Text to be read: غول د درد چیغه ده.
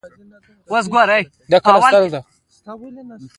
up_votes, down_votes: 0, 2